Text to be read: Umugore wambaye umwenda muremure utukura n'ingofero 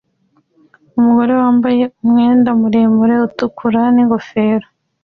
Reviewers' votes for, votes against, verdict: 2, 1, accepted